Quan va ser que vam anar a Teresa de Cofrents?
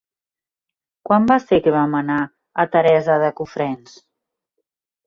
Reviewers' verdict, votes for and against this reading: accepted, 3, 0